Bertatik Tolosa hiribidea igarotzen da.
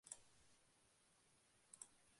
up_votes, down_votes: 0, 2